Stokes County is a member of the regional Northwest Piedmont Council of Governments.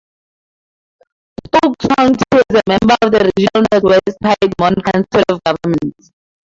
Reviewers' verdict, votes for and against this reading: rejected, 2, 4